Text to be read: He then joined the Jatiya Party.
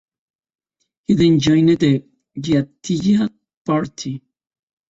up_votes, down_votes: 0, 2